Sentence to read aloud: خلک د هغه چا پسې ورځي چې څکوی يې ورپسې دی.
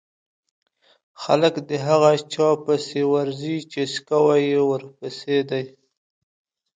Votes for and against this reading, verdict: 2, 0, accepted